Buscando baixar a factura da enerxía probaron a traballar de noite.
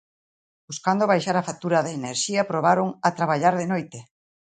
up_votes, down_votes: 2, 0